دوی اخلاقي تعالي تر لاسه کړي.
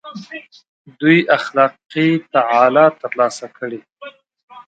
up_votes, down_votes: 0, 2